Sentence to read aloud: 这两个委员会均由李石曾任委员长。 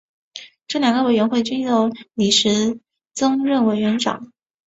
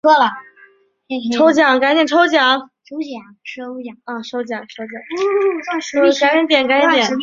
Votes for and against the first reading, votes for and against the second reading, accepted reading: 3, 0, 0, 2, first